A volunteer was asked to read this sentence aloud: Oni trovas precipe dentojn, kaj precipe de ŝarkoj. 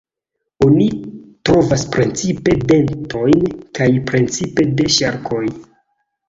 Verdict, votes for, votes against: rejected, 0, 2